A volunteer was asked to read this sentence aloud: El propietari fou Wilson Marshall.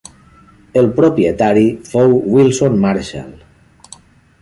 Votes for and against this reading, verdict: 3, 0, accepted